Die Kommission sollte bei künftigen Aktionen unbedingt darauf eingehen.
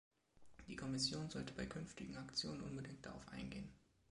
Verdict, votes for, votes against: rejected, 1, 2